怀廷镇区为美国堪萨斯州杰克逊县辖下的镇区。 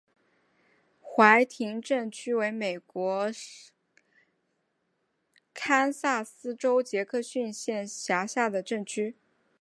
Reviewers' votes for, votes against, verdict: 3, 0, accepted